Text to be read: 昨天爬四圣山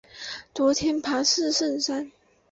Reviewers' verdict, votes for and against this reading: accepted, 4, 0